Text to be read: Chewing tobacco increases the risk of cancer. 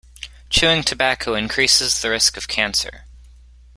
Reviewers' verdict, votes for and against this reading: accepted, 3, 0